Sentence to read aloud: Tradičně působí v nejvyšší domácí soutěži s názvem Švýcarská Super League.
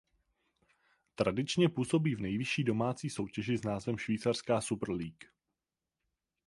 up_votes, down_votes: 4, 0